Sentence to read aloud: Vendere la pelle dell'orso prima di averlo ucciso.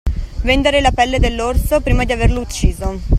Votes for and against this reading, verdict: 2, 0, accepted